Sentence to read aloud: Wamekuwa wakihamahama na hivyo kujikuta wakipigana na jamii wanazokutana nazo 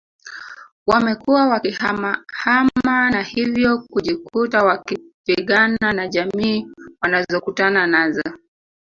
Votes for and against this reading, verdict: 0, 2, rejected